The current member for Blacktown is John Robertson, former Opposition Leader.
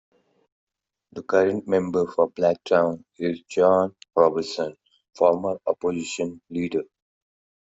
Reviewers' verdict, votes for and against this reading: accepted, 2, 0